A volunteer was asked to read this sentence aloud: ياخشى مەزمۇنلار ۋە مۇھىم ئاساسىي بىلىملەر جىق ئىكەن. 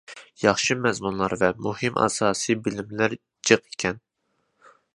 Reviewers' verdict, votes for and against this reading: accepted, 2, 0